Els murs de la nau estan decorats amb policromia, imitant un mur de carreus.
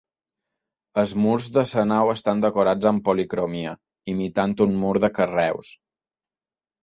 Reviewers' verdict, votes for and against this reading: rejected, 0, 2